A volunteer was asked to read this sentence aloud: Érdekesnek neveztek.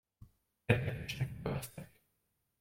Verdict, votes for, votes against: rejected, 0, 2